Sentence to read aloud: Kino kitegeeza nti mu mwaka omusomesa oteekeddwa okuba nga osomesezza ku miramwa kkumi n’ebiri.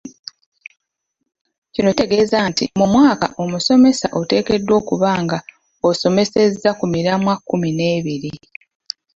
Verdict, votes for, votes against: rejected, 0, 2